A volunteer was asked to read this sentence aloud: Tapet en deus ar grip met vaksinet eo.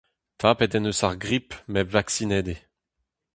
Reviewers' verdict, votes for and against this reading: accepted, 2, 0